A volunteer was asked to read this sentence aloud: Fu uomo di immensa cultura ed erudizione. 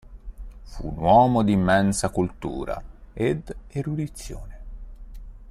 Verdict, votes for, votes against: rejected, 1, 2